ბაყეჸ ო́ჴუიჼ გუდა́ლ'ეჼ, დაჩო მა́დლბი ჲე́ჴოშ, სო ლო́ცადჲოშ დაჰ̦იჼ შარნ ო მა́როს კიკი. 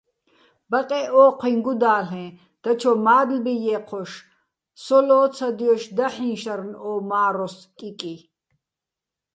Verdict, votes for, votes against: accepted, 2, 0